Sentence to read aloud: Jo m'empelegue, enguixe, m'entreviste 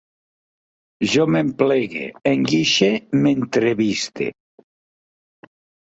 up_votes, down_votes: 2, 1